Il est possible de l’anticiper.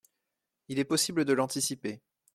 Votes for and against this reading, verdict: 2, 0, accepted